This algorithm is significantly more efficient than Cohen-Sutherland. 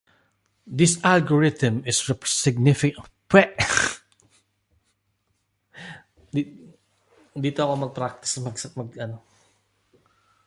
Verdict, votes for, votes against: rejected, 0, 2